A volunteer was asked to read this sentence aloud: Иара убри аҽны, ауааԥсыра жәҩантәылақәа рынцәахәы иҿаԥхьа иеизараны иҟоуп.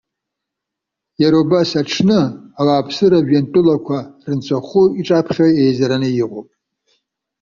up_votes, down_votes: 2, 0